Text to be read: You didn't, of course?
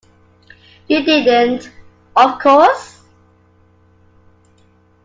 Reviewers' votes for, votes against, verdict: 2, 1, accepted